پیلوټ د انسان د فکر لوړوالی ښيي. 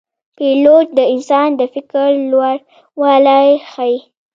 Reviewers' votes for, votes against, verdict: 1, 2, rejected